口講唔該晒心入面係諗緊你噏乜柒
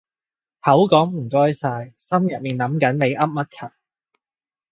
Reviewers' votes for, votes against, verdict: 0, 2, rejected